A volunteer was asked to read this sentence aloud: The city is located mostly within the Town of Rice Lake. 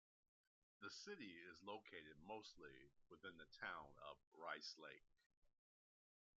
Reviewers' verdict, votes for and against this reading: rejected, 1, 2